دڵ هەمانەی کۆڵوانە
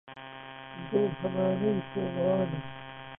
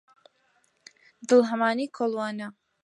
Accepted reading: second